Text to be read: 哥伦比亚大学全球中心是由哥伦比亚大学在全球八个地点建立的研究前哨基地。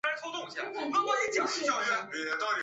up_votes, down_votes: 0, 2